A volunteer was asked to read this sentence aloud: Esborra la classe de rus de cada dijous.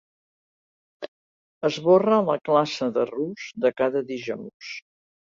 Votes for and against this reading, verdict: 2, 0, accepted